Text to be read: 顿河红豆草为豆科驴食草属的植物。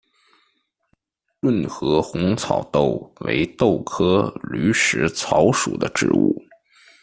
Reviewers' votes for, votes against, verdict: 1, 2, rejected